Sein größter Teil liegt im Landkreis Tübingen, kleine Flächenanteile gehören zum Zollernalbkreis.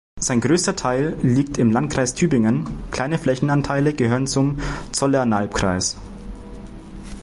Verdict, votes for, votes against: accepted, 2, 0